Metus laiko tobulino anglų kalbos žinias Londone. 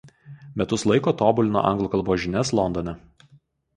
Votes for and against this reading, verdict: 2, 0, accepted